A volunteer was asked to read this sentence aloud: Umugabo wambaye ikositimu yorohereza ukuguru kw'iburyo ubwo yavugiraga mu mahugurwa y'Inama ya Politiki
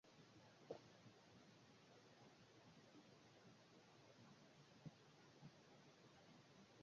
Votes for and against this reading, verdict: 0, 2, rejected